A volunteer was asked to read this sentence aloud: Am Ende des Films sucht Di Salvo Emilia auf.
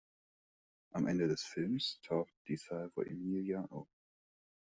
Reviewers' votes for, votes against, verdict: 0, 2, rejected